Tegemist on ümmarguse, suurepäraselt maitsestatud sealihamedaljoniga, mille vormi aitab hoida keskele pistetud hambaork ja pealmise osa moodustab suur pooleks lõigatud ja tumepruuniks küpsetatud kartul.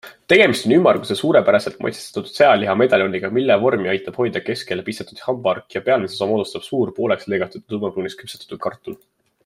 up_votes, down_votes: 2, 1